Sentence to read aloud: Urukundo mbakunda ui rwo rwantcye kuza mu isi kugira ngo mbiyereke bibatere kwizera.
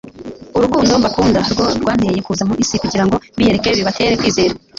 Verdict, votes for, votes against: rejected, 1, 2